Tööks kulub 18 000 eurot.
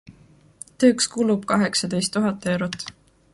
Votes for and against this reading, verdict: 0, 2, rejected